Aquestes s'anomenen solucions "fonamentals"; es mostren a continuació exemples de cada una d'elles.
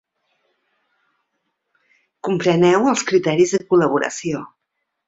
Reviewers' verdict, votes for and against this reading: rejected, 0, 2